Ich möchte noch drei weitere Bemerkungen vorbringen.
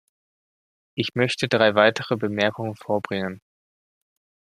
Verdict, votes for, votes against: rejected, 1, 2